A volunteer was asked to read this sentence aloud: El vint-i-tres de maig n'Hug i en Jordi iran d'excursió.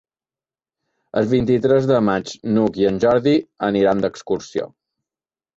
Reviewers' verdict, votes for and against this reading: rejected, 1, 2